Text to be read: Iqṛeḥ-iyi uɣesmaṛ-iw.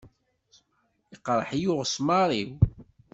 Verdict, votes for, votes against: accepted, 2, 0